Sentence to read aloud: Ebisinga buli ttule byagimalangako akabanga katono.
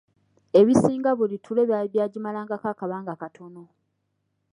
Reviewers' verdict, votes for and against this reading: rejected, 0, 2